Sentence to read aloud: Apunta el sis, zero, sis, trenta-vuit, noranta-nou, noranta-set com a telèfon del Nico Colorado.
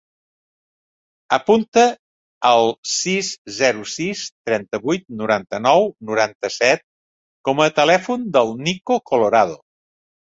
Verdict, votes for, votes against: accepted, 3, 0